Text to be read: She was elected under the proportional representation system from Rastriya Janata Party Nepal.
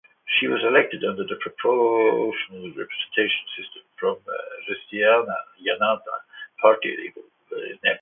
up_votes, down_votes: 1, 2